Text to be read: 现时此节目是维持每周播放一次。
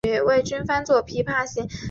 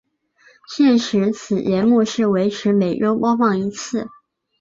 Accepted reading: second